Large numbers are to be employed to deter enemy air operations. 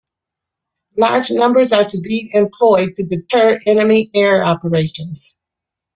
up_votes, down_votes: 2, 0